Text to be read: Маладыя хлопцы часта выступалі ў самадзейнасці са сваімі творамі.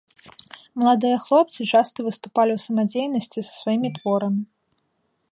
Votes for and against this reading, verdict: 2, 1, accepted